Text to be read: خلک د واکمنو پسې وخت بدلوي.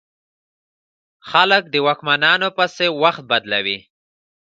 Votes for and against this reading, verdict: 2, 0, accepted